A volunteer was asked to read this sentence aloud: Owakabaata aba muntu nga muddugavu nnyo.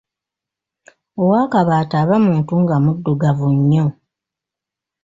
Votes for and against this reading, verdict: 2, 1, accepted